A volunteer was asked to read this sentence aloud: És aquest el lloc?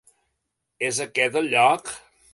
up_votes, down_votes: 2, 0